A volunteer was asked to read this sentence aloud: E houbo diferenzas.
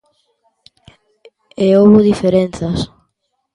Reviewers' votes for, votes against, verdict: 2, 0, accepted